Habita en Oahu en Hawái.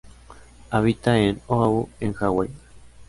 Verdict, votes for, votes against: rejected, 1, 2